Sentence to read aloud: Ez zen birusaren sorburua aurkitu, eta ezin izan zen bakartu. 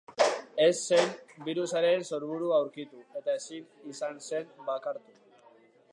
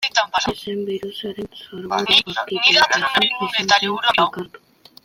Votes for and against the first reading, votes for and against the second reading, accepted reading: 2, 0, 0, 2, first